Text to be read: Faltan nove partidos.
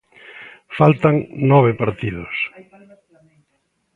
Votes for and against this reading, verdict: 2, 1, accepted